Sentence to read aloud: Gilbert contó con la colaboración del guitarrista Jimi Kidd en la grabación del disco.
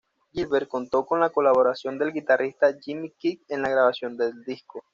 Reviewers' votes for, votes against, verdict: 0, 2, rejected